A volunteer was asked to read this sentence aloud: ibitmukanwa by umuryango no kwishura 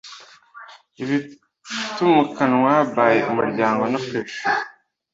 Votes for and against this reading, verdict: 1, 2, rejected